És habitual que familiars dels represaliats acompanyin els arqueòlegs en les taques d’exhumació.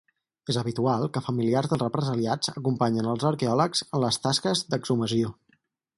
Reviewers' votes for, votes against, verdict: 0, 4, rejected